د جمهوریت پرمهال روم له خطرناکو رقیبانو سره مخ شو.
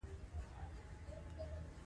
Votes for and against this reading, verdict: 1, 2, rejected